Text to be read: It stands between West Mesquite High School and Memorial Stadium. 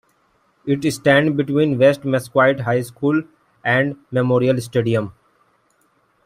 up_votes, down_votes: 1, 2